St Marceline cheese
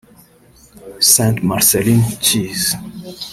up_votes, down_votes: 1, 2